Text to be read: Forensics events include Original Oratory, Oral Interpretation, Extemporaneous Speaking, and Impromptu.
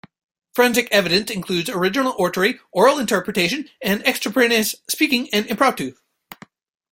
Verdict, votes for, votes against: accepted, 2, 1